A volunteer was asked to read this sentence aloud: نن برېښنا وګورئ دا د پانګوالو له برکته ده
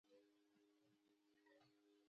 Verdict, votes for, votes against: rejected, 1, 3